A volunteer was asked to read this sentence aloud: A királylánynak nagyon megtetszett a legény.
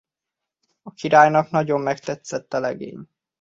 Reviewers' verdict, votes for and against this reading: rejected, 0, 2